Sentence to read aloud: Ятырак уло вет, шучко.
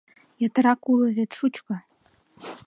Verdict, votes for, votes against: accepted, 2, 0